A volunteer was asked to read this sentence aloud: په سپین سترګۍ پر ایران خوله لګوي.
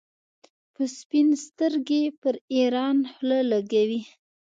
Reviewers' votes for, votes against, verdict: 2, 0, accepted